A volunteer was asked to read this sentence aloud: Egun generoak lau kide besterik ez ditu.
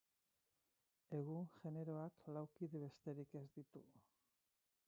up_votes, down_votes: 0, 4